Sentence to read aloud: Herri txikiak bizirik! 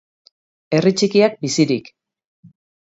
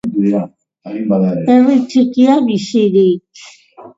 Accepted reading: first